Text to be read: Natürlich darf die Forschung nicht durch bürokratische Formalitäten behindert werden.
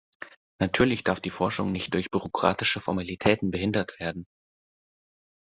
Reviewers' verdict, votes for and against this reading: accepted, 2, 0